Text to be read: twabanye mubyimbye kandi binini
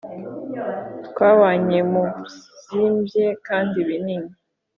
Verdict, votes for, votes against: accepted, 3, 0